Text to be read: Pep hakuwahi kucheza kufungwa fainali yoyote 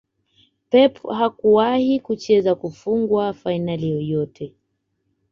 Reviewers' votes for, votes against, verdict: 2, 1, accepted